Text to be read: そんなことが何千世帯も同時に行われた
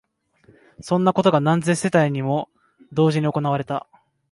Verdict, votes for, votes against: accepted, 2, 0